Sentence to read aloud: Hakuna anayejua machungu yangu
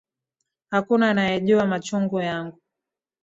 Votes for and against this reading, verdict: 2, 0, accepted